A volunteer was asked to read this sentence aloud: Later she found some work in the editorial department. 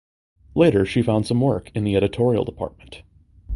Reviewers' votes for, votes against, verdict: 2, 0, accepted